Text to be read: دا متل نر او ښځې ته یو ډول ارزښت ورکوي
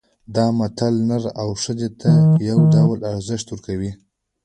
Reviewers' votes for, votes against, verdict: 2, 1, accepted